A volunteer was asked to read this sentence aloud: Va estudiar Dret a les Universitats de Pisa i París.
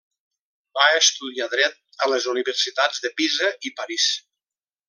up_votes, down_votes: 3, 0